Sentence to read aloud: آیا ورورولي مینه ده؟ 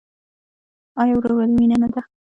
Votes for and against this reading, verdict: 0, 2, rejected